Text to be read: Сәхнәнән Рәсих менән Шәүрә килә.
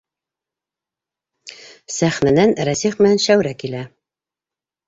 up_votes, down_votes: 3, 0